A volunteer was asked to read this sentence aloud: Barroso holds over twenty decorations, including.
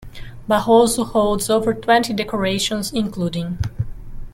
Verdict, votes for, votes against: rejected, 0, 2